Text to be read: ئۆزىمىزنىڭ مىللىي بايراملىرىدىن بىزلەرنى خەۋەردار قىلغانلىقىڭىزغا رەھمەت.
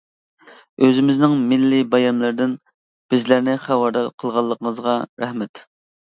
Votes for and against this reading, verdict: 1, 2, rejected